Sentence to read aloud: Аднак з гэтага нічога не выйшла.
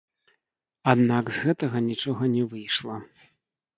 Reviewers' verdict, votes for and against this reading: rejected, 0, 3